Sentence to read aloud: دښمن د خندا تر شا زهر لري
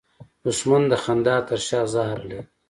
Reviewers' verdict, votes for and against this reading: accepted, 2, 1